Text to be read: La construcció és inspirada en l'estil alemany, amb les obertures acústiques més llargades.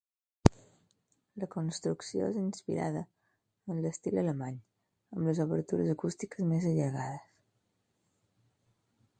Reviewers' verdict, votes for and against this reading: rejected, 2, 4